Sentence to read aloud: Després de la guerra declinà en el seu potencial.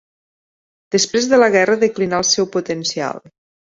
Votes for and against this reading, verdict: 2, 4, rejected